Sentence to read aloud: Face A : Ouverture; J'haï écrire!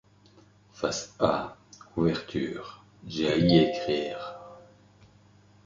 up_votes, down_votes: 1, 2